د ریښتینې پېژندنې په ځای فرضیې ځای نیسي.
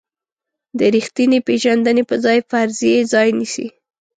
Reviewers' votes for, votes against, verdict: 2, 0, accepted